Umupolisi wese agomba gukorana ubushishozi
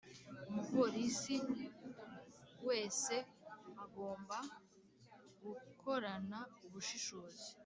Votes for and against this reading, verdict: 3, 0, accepted